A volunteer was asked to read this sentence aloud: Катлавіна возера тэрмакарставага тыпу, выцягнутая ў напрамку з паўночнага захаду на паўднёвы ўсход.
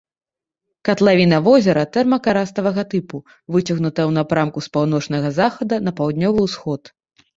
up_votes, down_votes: 1, 2